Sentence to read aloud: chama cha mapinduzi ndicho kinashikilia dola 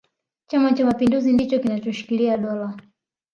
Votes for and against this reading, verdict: 0, 2, rejected